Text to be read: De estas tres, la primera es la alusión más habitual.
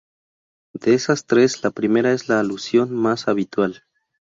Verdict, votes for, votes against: rejected, 0, 2